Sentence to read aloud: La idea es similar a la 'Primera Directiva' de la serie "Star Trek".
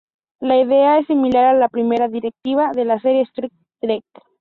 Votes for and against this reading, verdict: 0, 2, rejected